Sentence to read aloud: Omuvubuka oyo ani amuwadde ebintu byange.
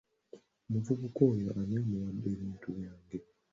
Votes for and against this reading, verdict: 2, 0, accepted